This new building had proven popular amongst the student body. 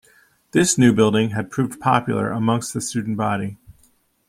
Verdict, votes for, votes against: rejected, 0, 2